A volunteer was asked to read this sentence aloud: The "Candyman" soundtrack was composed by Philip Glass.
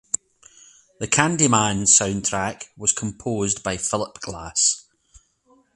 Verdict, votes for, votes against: accepted, 4, 0